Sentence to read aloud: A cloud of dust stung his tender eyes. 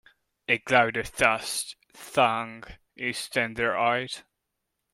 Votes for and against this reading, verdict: 1, 2, rejected